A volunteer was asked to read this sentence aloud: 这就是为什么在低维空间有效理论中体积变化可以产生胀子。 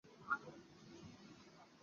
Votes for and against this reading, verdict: 0, 5, rejected